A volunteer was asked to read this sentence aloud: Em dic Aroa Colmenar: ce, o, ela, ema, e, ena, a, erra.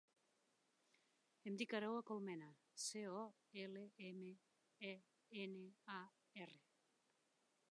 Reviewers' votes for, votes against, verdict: 2, 1, accepted